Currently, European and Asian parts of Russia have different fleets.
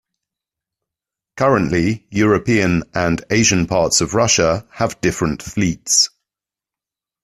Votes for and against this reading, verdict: 2, 0, accepted